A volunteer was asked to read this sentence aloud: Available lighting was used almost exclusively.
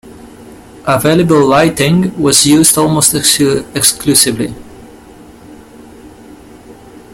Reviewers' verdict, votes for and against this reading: rejected, 1, 2